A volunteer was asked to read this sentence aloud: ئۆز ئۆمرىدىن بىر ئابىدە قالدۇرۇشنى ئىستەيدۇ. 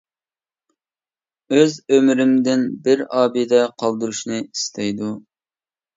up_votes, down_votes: 0, 2